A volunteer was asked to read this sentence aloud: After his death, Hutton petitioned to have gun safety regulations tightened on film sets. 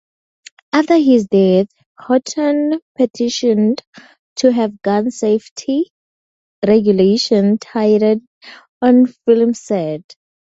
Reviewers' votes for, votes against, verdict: 4, 4, rejected